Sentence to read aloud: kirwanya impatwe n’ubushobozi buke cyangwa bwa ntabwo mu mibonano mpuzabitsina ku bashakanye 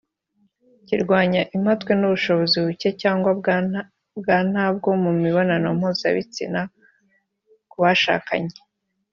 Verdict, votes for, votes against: rejected, 0, 2